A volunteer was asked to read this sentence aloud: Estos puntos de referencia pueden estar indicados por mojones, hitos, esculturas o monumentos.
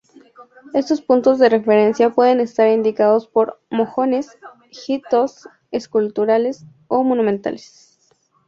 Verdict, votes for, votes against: rejected, 0, 2